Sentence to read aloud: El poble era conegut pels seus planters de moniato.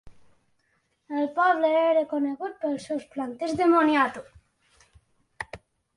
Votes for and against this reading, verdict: 3, 0, accepted